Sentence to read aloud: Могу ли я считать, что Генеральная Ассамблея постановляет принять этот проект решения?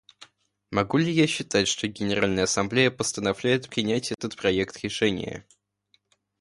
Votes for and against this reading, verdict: 2, 0, accepted